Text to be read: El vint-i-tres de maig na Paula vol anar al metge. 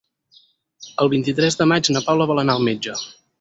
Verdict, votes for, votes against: accepted, 6, 0